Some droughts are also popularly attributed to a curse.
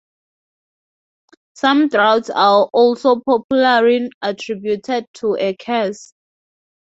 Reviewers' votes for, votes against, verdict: 2, 2, rejected